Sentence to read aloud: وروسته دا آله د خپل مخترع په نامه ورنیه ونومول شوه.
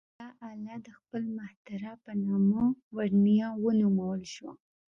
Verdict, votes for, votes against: rejected, 1, 2